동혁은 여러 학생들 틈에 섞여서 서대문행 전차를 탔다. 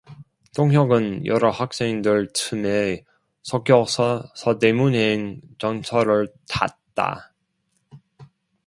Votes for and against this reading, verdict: 2, 1, accepted